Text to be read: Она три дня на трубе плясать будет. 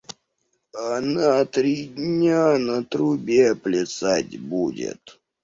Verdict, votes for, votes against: rejected, 0, 2